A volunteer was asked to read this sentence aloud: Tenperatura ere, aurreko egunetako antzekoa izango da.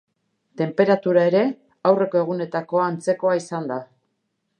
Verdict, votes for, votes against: rejected, 2, 2